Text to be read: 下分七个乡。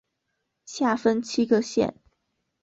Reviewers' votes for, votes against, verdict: 0, 2, rejected